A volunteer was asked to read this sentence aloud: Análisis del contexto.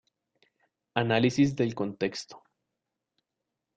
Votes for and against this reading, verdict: 2, 0, accepted